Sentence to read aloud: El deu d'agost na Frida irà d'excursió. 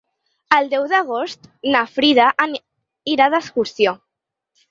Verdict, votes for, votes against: rejected, 0, 4